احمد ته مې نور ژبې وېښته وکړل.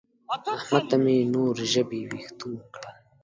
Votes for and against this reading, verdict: 1, 2, rejected